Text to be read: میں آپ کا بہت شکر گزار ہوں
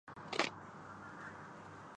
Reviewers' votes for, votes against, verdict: 0, 4, rejected